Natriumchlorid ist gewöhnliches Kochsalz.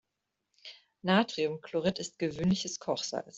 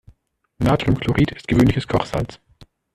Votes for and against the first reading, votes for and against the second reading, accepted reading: 2, 0, 1, 2, first